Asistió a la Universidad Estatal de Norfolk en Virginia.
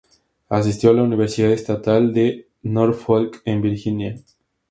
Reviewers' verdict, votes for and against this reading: accepted, 2, 0